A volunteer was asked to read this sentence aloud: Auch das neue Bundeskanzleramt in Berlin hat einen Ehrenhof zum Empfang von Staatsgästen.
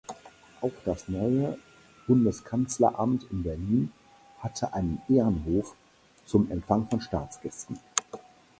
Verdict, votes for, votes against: rejected, 0, 4